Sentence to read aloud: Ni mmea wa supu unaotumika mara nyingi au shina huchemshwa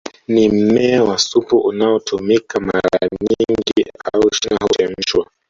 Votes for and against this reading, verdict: 1, 2, rejected